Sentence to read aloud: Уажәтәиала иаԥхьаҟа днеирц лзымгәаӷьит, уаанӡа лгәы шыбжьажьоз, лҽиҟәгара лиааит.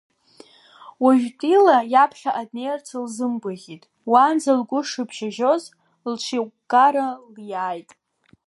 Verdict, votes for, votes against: rejected, 0, 2